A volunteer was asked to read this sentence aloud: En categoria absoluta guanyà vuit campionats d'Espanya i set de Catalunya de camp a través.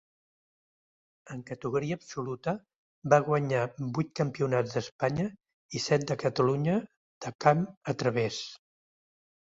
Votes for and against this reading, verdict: 1, 2, rejected